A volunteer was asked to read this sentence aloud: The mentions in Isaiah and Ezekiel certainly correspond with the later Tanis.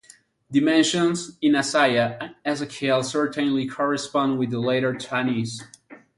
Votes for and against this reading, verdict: 2, 2, rejected